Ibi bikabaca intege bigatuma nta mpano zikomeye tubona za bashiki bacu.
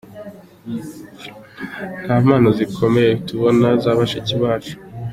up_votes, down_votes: 1, 3